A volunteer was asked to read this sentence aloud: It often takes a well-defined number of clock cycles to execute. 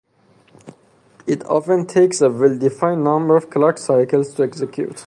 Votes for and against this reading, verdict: 2, 2, rejected